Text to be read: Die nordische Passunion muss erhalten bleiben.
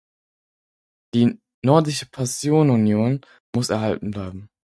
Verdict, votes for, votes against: rejected, 0, 4